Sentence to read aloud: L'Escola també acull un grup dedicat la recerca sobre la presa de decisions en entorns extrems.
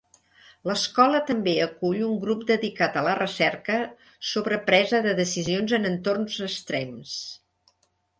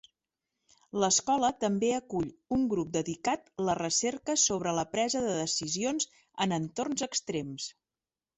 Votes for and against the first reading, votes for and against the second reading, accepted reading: 1, 2, 3, 0, second